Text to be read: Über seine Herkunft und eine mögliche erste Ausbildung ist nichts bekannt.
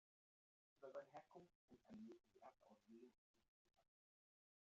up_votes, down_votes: 0, 2